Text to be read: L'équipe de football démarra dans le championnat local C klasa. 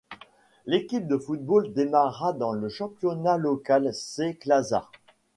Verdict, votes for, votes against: accepted, 2, 0